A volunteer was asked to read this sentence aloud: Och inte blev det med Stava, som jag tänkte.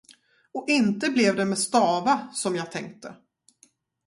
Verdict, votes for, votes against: rejected, 0, 2